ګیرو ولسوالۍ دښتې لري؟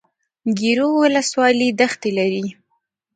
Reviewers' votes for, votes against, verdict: 2, 1, accepted